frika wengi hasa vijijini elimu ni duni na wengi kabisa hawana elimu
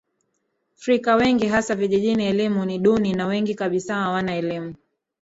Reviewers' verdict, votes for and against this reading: rejected, 1, 2